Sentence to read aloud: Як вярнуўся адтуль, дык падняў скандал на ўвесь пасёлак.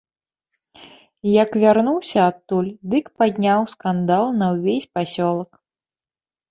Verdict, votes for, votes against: accepted, 2, 0